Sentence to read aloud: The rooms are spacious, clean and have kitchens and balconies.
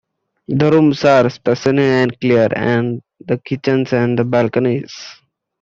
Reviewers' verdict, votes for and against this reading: rejected, 0, 2